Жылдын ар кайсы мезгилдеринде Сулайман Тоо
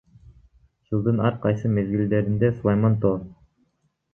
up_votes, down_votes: 2, 0